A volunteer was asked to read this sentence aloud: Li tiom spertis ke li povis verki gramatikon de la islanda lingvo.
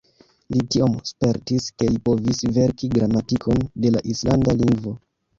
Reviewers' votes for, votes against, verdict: 1, 2, rejected